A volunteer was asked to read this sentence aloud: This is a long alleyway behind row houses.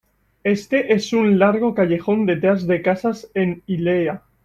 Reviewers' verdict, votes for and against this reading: rejected, 0, 2